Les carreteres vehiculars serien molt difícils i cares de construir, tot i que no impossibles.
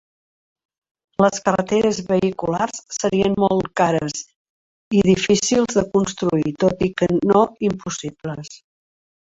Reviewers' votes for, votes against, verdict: 0, 2, rejected